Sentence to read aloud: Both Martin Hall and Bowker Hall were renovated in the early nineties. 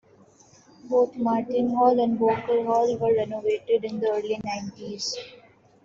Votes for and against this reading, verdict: 2, 1, accepted